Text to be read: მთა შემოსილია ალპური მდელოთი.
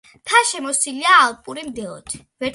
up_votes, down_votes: 2, 1